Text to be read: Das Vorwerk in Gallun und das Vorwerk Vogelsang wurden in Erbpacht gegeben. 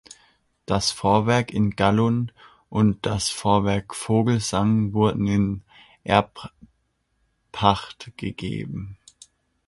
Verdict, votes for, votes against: accepted, 2, 1